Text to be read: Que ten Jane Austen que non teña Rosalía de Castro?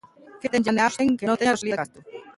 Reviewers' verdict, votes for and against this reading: rejected, 0, 2